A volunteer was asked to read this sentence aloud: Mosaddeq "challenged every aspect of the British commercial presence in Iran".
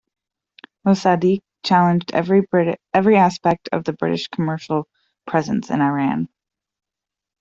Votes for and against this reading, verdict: 0, 2, rejected